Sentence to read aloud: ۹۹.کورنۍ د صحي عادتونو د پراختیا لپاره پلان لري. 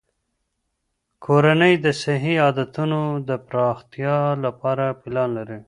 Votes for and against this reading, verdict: 0, 2, rejected